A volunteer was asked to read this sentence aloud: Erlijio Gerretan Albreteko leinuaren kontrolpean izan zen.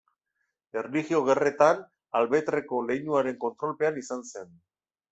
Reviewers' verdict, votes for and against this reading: accepted, 2, 1